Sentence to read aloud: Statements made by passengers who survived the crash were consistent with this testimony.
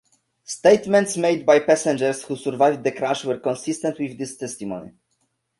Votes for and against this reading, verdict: 2, 0, accepted